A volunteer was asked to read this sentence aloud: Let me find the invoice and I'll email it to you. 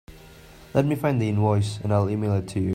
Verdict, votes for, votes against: accepted, 2, 0